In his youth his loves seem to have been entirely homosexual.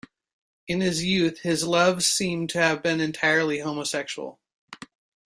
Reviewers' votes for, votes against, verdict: 2, 0, accepted